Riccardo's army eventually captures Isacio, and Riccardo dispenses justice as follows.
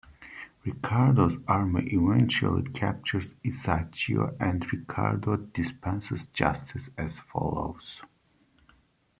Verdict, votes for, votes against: accepted, 2, 0